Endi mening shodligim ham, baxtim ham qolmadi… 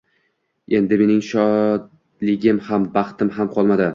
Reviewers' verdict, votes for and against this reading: accepted, 2, 0